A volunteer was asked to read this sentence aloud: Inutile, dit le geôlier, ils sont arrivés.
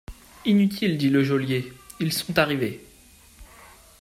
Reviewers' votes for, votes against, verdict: 2, 0, accepted